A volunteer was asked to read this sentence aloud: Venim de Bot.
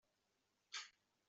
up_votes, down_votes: 0, 2